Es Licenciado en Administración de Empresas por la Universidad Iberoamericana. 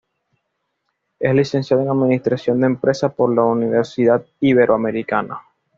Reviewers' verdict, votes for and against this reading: accepted, 2, 0